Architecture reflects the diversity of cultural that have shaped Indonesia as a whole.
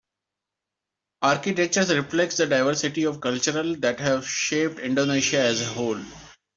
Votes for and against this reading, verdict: 2, 0, accepted